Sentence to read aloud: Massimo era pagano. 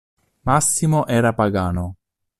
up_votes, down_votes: 2, 0